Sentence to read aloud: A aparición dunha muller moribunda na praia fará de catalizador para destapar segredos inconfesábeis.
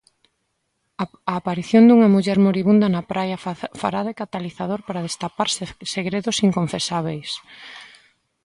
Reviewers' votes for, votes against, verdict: 0, 2, rejected